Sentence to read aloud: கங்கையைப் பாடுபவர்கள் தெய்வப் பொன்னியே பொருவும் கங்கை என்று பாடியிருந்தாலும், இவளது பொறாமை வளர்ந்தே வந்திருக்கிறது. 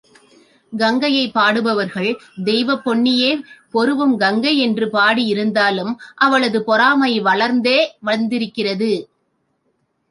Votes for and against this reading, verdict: 1, 2, rejected